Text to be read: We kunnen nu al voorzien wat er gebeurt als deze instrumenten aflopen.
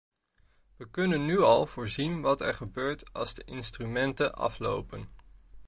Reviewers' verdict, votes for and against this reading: rejected, 1, 2